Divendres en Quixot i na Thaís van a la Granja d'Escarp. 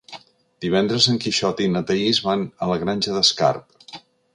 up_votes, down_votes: 3, 0